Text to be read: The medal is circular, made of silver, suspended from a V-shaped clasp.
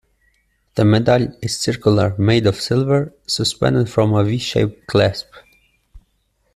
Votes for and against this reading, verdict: 2, 0, accepted